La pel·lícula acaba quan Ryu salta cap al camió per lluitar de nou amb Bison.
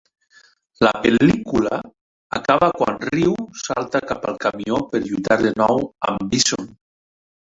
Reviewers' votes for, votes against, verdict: 1, 2, rejected